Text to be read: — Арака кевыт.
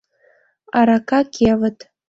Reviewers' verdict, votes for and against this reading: accepted, 2, 0